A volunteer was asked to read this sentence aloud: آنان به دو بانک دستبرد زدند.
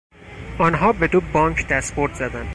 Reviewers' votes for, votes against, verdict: 0, 4, rejected